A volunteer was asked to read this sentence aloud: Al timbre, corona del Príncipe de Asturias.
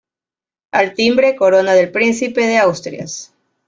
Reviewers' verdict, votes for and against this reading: rejected, 0, 2